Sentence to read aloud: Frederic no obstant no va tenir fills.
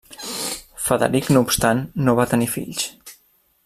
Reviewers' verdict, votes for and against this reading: rejected, 1, 2